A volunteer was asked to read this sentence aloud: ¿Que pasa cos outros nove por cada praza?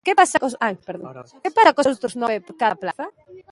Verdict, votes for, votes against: rejected, 0, 2